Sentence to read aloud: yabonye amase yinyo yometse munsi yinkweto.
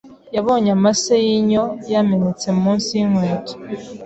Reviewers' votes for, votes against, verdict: 0, 2, rejected